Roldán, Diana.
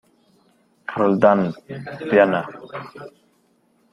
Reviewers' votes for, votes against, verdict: 1, 2, rejected